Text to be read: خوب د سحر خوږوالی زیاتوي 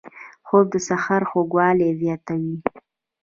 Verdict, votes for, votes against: rejected, 1, 2